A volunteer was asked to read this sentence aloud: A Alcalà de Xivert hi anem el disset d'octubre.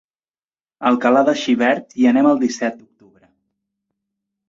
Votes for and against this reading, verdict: 0, 2, rejected